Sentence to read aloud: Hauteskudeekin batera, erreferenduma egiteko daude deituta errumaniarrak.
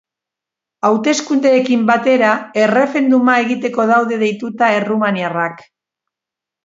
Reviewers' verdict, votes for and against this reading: rejected, 0, 2